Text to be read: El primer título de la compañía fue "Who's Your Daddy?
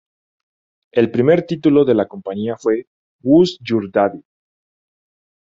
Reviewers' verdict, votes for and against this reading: accepted, 2, 0